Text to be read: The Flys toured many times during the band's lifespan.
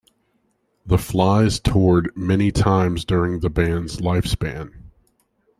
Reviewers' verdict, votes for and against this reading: accepted, 2, 0